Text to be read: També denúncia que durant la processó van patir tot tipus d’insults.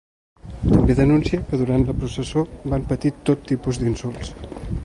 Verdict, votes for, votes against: rejected, 0, 2